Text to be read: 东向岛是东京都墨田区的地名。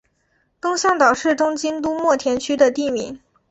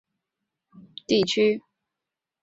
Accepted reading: first